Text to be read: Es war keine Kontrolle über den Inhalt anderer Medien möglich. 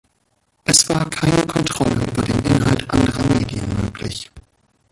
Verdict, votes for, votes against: rejected, 1, 2